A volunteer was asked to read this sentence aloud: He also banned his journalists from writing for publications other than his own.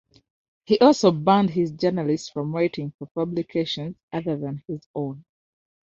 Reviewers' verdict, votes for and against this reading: accepted, 2, 0